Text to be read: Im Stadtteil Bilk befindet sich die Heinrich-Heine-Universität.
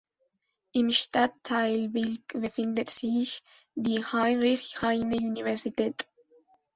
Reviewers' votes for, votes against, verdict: 2, 0, accepted